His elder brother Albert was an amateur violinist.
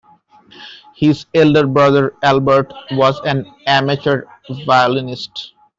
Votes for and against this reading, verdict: 1, 2, rejected